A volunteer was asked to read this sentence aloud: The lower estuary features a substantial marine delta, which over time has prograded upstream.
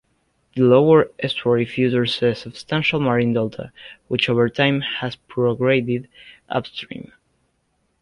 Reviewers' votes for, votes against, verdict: 1, 2, rejected